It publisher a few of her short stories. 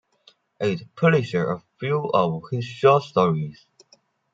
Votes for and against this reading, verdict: 2, 1, accepted